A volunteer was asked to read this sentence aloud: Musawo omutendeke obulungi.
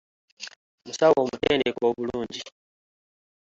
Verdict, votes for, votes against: accepted, 2, 1